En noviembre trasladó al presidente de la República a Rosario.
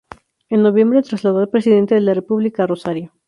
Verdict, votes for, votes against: rejected, 0, 2